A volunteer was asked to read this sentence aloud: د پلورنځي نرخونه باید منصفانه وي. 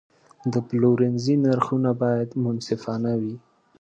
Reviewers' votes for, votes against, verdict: 2, 0, accepted